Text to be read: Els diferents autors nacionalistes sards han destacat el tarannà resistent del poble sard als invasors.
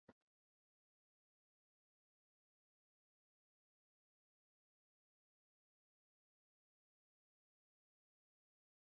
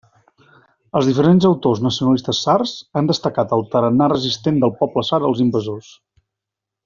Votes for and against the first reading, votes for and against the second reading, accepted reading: 0, 2, 2, 0, second